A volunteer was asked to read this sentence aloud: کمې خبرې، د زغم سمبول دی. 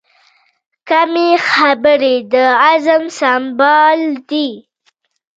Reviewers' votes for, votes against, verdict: 1, 2, rejected